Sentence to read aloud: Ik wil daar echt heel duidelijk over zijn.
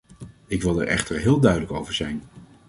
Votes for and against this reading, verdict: 1, 2, rejected